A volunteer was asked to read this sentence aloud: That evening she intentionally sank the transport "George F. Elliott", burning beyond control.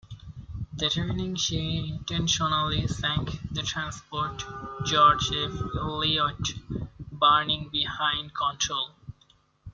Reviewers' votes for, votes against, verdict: 0, 2, rejected